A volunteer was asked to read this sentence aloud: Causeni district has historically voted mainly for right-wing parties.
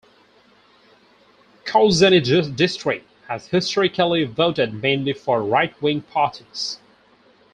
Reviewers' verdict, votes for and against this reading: rejected, 0, 4